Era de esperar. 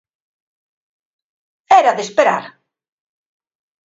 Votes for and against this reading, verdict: 3, 1, accepted